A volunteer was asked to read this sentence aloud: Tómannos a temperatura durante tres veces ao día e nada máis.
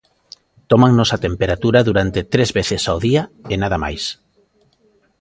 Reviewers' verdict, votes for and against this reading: accepted, 2, 0